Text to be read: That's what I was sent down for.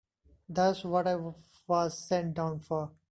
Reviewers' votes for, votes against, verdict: 0, 2, rejected